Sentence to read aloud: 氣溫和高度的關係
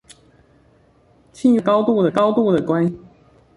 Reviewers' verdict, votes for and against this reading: rejected, 0, 2